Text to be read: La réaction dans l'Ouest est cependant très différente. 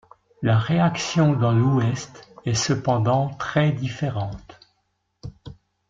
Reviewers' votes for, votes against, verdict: 2, 0, accepted